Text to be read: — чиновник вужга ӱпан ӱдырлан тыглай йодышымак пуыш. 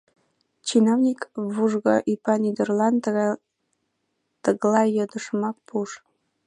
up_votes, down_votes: 1, 2